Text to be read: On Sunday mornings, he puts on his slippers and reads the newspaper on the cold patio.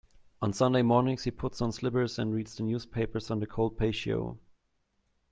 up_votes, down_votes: 0, 2